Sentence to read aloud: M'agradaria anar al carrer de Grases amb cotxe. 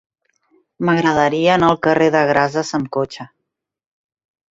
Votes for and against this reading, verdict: 2, 0, accepted